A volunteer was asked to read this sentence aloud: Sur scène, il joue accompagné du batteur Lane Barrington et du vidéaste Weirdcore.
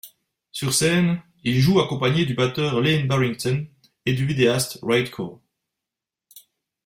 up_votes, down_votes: 2, 0